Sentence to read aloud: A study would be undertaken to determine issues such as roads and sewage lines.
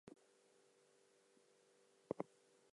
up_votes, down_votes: 0, 2